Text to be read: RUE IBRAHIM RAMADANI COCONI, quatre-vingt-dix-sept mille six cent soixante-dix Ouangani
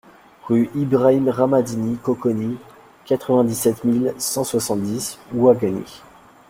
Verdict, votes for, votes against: accepted, 2, 1